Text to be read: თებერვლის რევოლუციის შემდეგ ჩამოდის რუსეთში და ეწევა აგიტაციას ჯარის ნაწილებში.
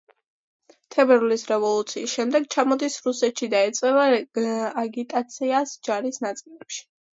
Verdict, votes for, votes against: accepted, 2, 1